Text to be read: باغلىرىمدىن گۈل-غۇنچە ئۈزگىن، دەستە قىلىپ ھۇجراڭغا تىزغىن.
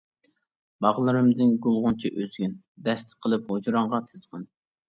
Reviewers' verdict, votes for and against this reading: rejected, 1, 2